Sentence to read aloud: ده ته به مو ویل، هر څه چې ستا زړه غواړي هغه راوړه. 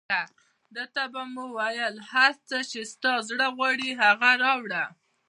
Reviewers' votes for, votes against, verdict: 0, 2, rejected